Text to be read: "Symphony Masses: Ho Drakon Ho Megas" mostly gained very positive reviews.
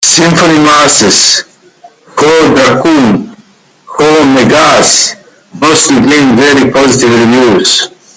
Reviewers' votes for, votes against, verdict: 0, 2, rejected